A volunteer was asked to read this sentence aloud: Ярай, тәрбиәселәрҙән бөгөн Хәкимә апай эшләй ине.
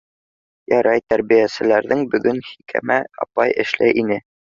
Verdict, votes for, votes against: rejected, 0, 2